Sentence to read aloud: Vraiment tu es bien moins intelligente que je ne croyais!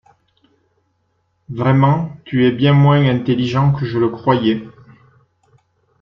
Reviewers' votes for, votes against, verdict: 1, 2, rejected